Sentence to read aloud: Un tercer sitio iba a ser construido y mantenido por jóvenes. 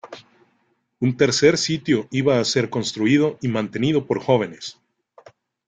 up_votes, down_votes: 2, 0